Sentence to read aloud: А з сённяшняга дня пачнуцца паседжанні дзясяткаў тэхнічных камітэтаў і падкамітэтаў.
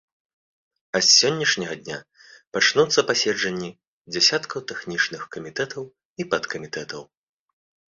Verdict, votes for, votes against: accepted, 2, 0